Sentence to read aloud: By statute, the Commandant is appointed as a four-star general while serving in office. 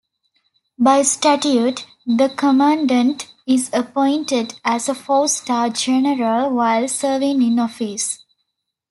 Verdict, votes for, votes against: accepted, 2, 0